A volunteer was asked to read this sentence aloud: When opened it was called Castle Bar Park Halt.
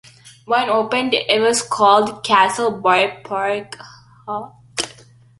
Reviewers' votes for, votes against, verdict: 0, 2, rejected